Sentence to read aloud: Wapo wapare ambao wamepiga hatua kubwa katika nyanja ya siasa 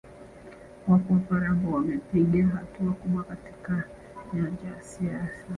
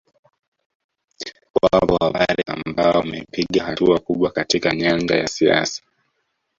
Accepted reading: first